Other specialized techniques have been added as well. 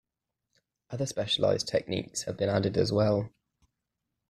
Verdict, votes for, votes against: accepted, 2, 0